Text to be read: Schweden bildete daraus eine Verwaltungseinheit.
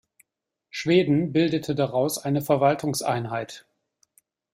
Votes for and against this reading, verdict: 2, 0, accepted